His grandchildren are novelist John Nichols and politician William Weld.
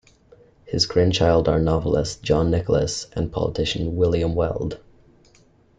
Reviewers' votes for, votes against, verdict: 0, 2, rejected